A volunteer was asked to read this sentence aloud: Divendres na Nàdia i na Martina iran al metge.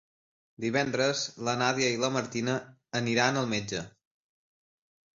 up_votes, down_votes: 0, 2